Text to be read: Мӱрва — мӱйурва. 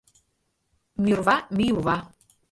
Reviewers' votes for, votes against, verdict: 1, 2, rejected